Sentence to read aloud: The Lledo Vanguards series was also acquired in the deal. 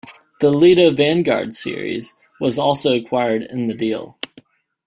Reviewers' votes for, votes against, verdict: 2, 0, accepted